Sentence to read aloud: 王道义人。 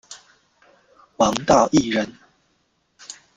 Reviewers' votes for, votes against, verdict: 1, 2, rejected